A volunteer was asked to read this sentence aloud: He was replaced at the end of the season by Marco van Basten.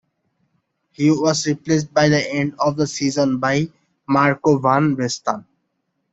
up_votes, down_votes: 1, 2